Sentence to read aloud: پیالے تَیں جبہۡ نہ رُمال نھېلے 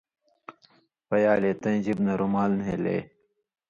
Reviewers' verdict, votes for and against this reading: accepted, 2, 0